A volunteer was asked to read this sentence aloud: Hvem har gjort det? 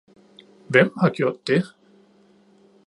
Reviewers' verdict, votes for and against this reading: accepted, 2, 0